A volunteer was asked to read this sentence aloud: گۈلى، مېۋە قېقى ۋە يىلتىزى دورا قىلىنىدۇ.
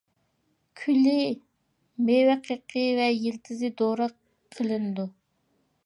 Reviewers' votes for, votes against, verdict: 0, 2, rejected